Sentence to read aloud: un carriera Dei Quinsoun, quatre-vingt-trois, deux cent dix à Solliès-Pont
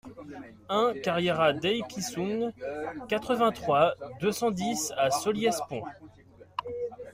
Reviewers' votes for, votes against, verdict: 2, 0, accepted